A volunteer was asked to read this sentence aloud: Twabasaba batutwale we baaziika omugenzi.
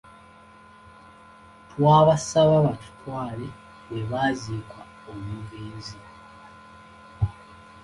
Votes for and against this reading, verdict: 2, 0, accepted